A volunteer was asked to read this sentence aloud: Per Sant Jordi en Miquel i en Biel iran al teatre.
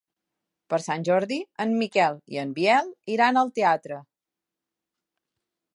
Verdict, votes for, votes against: accepted, 3, 0